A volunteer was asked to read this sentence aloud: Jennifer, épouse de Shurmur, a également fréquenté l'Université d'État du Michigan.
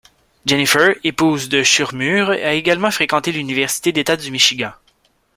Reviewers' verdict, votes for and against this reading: accepted, 2, 0